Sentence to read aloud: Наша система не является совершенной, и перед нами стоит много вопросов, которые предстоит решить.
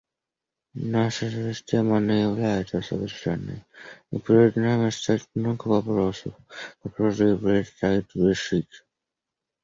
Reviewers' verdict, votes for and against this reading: accepted, 2, 0